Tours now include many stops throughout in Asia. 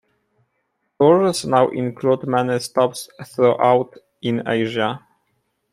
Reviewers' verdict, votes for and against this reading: rejected, 0, 2